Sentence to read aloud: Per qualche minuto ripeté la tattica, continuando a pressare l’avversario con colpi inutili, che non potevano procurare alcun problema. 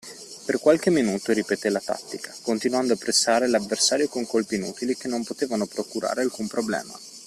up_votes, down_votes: 2, 0